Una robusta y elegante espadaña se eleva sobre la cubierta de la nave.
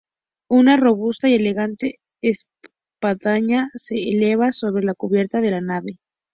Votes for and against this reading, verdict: 0, 2, rejected